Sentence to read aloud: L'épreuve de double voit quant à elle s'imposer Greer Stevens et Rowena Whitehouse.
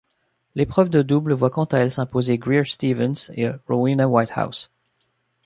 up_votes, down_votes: 1, 2